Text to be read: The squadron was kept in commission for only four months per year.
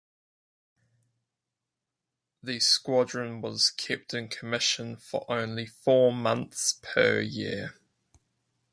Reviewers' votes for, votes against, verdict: 4, 0, accepted